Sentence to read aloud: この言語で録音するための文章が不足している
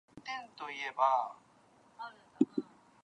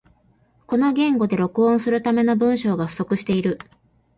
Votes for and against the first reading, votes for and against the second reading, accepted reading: 0, 2, 2, 0, second